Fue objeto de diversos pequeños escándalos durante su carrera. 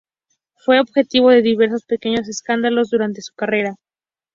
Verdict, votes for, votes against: rejected, 0, 2